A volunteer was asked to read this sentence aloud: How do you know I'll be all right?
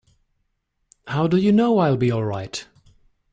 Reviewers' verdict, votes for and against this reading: accepted, 2, 0